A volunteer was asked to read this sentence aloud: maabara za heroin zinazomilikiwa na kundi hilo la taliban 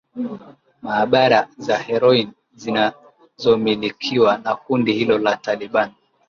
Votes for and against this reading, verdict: 3, 2, accepted